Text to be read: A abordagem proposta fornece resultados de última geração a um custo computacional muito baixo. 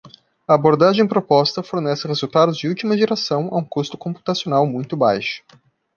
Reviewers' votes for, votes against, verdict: 2, 0, accepted